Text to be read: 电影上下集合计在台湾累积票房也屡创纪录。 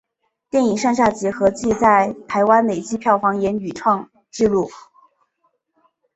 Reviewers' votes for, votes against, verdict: 3, 0, accepted